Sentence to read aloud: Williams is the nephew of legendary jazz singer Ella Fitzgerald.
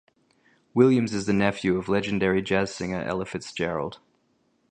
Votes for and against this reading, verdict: 2, 0, accepted